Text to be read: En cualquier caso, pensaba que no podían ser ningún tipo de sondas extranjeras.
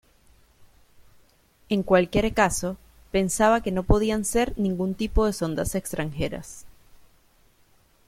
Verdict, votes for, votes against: accepted, 2, 0